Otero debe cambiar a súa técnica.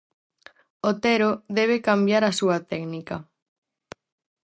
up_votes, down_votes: 4, 0